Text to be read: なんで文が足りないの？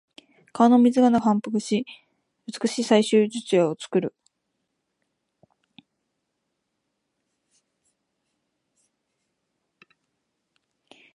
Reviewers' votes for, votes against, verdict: 0, 2, rejected